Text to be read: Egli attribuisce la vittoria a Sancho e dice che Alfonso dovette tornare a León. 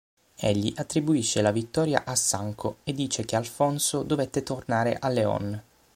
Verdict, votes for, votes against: accepted, 6, 3